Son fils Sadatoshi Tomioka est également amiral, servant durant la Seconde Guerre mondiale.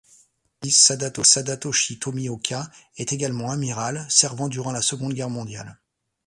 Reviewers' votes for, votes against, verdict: 0, 2, rejected